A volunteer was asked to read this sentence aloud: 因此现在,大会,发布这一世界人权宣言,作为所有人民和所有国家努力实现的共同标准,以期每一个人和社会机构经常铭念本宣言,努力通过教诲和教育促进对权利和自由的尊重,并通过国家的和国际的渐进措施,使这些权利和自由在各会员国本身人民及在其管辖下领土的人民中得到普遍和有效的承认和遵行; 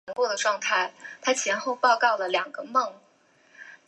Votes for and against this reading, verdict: 1, 4, rejected